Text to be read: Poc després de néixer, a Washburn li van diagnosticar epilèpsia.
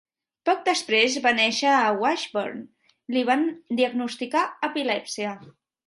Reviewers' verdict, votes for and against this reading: rejected, 0, 2